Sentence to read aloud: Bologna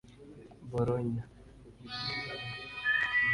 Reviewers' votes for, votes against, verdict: 1, 2, rejected